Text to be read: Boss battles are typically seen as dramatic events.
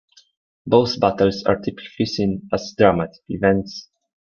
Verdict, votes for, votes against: rejected, 1, 2